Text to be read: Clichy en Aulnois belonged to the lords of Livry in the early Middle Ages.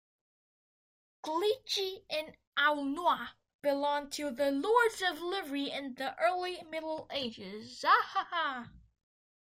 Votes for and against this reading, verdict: 2, 0, accepted